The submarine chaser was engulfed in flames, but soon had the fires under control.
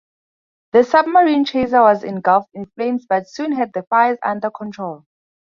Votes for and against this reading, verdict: 4, 0, accepted